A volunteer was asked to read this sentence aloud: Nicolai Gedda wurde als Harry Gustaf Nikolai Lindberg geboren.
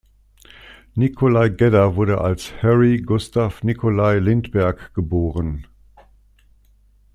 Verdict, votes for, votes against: accepted, 2, 0